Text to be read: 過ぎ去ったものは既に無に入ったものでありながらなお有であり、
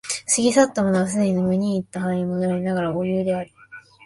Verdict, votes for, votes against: rejected, 1, 2